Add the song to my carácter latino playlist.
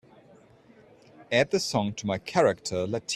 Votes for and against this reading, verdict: 0, 2, rejected